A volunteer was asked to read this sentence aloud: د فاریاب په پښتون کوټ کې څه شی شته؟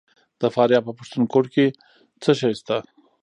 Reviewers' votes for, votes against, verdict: 1, 2, rejected